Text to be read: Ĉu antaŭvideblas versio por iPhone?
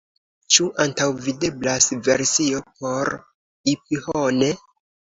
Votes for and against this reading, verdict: 2, 1, accepted